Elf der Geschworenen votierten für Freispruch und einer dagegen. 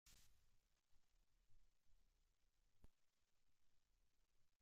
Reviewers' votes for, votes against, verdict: 0, 2, rejected